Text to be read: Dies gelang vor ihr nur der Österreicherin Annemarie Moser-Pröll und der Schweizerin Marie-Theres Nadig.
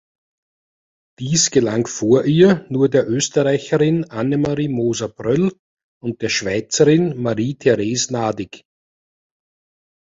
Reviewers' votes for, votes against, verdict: 2, 1, accepted